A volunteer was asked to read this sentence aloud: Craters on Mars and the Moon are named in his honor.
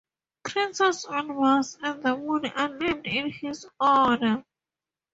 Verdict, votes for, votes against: rejected, 2, 2